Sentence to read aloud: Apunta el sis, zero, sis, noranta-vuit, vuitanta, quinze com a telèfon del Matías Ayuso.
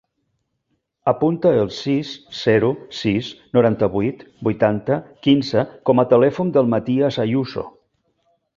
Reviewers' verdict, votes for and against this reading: rejected, 0, 2